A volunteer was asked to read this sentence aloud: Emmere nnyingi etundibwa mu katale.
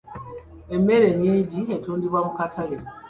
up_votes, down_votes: 2, 0